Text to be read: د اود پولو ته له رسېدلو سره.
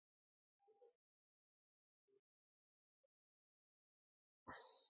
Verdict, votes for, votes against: rejected, 0, 2